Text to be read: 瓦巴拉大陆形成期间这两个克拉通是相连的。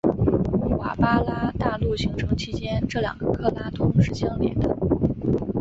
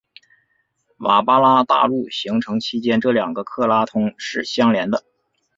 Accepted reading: second